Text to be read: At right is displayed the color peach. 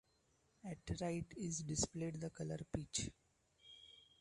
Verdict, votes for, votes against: accepted, 2, 0